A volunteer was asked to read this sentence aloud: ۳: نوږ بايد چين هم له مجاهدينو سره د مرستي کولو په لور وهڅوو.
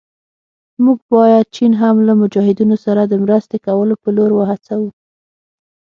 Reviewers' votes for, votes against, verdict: 0, 2, rejected